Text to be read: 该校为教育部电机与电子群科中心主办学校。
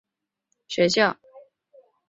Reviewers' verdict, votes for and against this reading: rejected, 0, 2